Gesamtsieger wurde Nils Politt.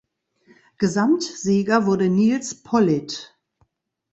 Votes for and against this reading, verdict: 2, 0, accepted